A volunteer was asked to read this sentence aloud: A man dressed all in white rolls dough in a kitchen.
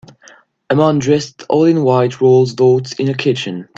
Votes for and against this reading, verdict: 1, 2, rejected